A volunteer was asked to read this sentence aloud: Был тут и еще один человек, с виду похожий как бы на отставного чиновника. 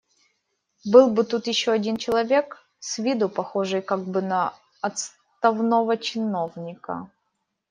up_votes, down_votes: 0, 2